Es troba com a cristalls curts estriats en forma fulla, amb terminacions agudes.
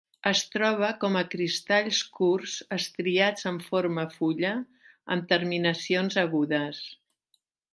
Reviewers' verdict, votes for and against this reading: accepted, 4, 0